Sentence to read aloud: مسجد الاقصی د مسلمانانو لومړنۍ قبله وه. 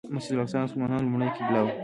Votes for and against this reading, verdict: 2, 0, accepted